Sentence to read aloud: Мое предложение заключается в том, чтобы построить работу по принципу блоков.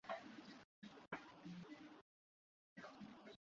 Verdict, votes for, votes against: rejected, 0, 2